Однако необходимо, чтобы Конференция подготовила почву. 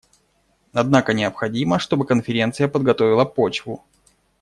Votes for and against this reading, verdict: 2, 0, accepted